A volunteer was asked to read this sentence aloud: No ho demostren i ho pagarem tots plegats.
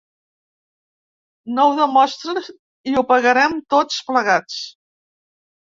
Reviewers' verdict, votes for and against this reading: rejected, 0, 2